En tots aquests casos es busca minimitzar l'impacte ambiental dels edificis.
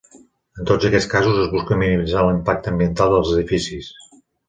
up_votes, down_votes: 0, 3